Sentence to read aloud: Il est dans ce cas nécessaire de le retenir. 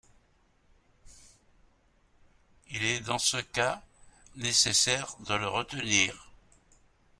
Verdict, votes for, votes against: rejected, 0, 2